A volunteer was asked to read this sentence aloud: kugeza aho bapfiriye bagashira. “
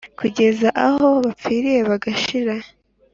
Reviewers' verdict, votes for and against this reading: accepted, 2, 0